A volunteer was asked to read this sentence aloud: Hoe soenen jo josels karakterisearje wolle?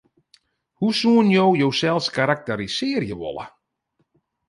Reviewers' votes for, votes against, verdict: 2, 0, accepted